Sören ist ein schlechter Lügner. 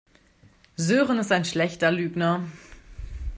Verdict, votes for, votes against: accepted, 2, 0